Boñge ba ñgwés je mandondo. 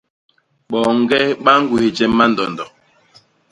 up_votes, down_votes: 0, 2